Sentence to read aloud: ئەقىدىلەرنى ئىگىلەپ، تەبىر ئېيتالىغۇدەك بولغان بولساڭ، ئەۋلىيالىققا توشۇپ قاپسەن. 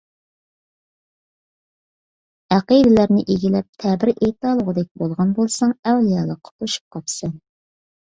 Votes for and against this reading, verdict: 2, 0, accepted